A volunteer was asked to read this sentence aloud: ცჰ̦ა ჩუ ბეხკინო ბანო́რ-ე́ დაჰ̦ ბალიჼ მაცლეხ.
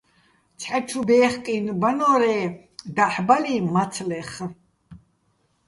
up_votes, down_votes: 1, 2